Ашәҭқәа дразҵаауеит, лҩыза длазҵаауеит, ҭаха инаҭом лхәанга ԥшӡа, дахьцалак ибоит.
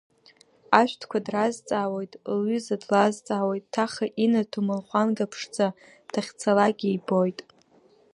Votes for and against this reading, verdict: 1, 2, rejected